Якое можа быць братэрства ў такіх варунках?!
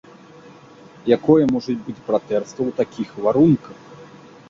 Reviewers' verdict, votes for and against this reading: rejected, 0, 2